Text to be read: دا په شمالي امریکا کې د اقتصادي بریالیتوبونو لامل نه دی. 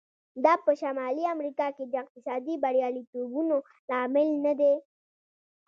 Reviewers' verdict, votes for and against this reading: accepted, 2, 0